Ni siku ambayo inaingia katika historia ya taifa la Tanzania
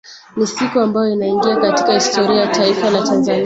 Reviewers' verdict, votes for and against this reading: accepted, 2, 1